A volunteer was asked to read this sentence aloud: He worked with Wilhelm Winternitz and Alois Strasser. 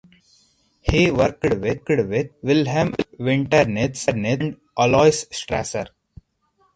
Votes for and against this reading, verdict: 2, 4, rejected